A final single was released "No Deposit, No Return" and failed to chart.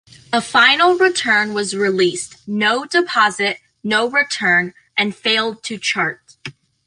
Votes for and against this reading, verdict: 1, 2, rejected